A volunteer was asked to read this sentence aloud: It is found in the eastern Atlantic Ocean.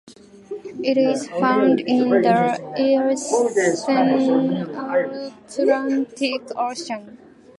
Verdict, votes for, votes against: accepted, 2, 1